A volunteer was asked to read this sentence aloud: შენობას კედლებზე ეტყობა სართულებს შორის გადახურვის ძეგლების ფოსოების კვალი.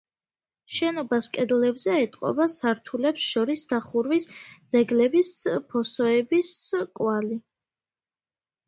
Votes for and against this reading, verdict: 0, 2, rejected